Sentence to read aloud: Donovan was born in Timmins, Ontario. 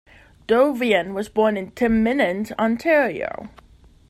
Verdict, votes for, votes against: rejected, 1, 2